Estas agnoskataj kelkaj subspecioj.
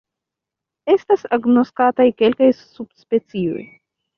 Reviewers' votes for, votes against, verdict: 2, 0, accepted